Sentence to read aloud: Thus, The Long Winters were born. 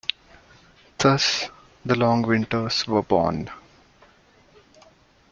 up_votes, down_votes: 2, 0